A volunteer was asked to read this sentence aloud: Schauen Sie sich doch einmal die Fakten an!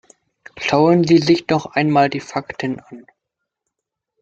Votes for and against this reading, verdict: 2, 0, accepted